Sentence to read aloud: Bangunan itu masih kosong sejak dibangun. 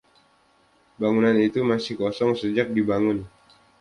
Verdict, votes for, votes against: accepted, 2, 0